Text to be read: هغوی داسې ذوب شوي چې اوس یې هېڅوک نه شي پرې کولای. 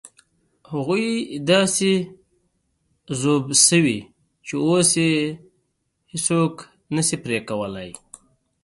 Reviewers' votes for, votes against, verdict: 2, 0, accepted